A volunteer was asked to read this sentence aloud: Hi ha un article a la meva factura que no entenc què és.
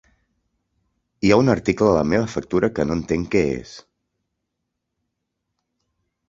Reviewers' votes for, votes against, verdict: 2, 1, accepted